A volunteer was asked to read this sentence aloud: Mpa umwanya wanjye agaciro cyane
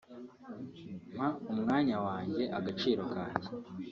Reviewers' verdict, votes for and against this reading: rejected, 2, 3